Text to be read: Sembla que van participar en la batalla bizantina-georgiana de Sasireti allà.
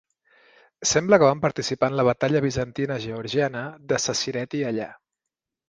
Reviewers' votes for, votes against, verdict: 6, 0, accepted